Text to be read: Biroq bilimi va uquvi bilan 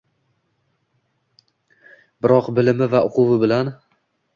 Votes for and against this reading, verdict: 2, 0, accepted